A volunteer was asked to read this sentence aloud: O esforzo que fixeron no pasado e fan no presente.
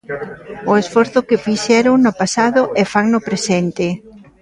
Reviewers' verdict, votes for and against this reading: rejected, 2, 3